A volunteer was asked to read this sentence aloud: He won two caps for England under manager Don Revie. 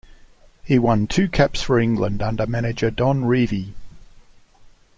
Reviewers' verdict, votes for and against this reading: accepted, 2, 0